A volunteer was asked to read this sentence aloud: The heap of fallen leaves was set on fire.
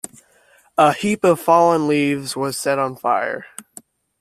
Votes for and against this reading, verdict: 0, 2, rejected